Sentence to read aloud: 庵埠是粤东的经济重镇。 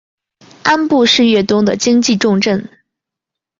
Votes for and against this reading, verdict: 2, 0, accepted